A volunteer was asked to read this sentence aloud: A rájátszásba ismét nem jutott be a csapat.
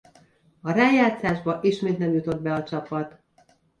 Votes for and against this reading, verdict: 2, 0, accepted